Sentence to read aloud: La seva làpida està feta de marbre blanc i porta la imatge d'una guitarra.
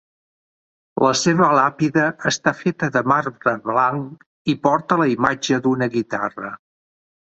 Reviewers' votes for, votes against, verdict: 3, 0, accepted